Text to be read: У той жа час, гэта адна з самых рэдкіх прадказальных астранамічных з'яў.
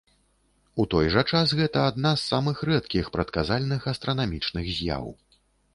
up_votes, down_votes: 2, 0